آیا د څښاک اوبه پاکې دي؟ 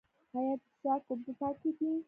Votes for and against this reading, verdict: 2, 0, accepted